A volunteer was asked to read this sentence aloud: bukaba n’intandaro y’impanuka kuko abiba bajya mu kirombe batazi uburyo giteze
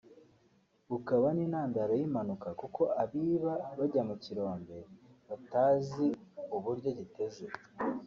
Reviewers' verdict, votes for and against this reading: rejected, 0, 2